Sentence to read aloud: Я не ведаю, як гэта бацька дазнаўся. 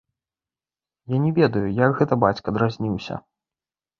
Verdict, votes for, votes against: rejected, 0, 2